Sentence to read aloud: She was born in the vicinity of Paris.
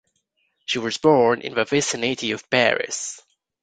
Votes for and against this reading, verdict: 2, 1, accepted